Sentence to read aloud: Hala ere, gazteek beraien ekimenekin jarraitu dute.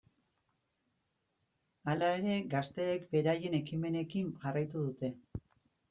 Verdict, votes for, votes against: accepted, 2, 0